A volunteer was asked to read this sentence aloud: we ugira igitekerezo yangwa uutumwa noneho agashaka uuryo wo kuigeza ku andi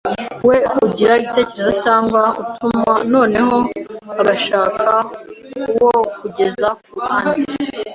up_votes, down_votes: 0, 2